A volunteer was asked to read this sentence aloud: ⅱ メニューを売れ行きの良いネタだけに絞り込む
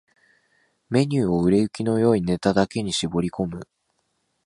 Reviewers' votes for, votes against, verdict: 2, 0, accepted